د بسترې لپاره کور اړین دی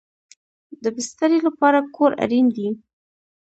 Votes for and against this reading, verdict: 1, 2, rejected